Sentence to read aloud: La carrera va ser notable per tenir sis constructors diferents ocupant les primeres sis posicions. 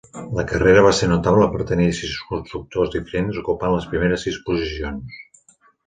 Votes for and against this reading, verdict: 2, 0, accepted